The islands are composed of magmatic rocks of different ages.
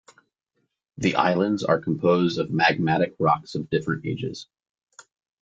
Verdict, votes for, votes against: accepted, 2, 0